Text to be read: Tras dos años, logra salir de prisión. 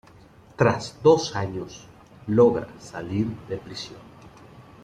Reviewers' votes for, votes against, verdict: 2, 0, accepted